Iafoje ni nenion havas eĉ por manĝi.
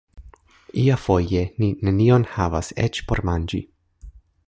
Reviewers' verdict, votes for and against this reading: rejected, 0, 3